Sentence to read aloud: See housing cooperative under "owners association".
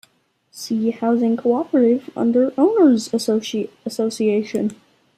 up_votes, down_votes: 1, 2